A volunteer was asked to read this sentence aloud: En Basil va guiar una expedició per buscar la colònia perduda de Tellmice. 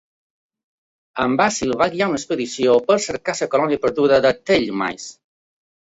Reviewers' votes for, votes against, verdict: 2, 1, accepted